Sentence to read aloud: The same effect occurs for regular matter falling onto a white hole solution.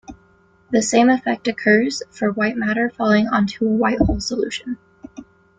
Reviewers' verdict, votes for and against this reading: rejected, 0, 2